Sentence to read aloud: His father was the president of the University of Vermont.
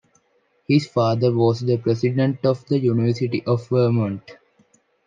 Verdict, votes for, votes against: accepted, 2, 0